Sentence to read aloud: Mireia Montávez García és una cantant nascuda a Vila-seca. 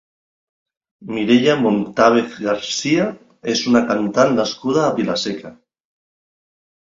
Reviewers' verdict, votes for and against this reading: accepted, 2, 0